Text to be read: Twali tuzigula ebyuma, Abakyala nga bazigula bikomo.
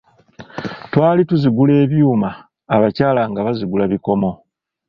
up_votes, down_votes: 2, 0